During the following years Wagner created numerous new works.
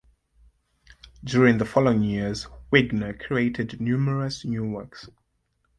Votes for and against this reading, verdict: 2, 1, accepted